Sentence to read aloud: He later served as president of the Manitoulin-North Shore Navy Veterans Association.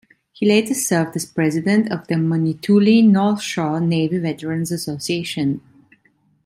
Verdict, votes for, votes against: accepted, 2, 0